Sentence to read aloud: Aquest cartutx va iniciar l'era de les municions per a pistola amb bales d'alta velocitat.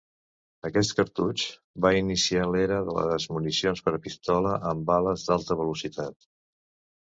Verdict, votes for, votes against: rejected, 1, 2